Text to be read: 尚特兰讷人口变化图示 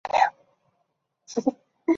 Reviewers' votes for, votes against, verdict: 1, 2, rejected